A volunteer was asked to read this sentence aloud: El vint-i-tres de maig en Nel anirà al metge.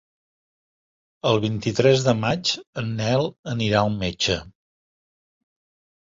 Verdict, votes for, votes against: accepted, 3, 0